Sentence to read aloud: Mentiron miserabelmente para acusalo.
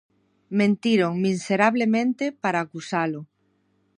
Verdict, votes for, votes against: rejected, 0, 2